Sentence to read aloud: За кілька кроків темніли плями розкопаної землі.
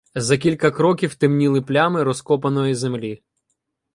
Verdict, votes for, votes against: accepted, 2, 0